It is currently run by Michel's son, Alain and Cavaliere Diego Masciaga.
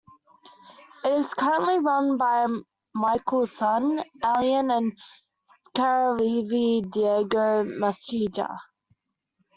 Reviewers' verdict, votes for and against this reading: rejected, 1, 2